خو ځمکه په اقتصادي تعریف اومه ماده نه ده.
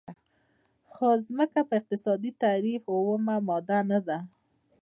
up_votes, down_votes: 2, 0